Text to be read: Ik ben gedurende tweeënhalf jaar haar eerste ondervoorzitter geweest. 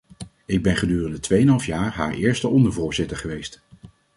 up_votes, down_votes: 2, 0